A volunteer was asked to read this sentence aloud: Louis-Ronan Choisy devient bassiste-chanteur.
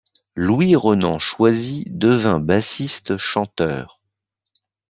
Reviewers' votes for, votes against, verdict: 1, 2, rejected